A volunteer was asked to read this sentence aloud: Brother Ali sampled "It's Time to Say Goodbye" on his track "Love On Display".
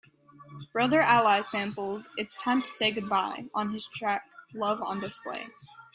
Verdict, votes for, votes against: accepted, 2, 0